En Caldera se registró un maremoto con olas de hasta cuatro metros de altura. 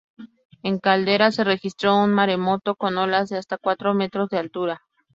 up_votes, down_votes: 4, 0